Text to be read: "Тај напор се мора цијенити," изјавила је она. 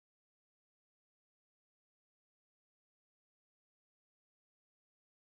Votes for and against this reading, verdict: 0, 2, rejected